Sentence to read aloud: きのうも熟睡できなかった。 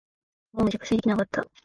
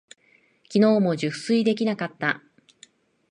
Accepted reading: second